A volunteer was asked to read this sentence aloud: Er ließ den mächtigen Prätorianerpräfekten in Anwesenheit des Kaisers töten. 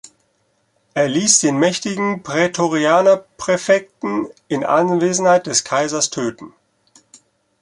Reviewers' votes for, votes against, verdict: 2, 0, accepted